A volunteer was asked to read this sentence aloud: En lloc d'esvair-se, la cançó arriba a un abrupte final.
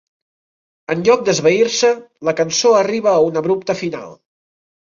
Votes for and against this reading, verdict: 3, 0, accepted